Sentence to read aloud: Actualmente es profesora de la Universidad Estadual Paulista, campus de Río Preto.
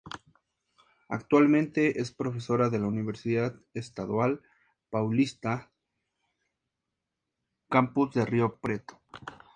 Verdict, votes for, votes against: accepted, 2, 0